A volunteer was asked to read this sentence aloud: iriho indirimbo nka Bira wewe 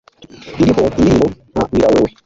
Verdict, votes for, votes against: rejected, 1, 2